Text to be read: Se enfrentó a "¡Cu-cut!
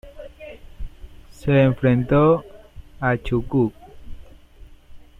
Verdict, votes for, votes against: rejected, 0, 2